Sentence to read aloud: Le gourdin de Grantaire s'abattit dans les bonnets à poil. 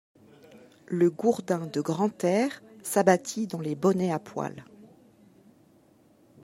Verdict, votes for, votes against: accepted, 2, 0